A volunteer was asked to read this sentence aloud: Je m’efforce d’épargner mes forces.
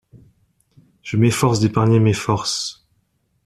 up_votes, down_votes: 2, 0